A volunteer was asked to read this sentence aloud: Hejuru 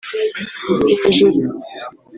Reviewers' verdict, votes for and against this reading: accepted, 2, 1